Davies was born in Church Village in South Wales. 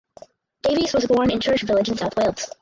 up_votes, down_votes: 0, 4